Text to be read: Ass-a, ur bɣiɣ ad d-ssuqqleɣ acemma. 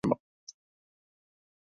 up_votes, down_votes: 1, 2